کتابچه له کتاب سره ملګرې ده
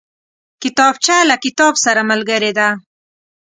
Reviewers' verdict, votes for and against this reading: accepted, 2, 0